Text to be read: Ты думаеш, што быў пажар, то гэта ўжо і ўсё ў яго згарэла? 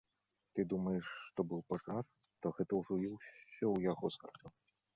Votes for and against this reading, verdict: 1, 2, rejected